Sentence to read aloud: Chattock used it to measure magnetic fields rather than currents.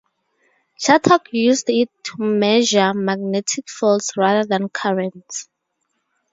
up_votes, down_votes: 2, 0